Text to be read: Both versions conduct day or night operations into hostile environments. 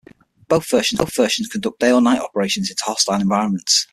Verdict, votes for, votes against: rejected, 0, 6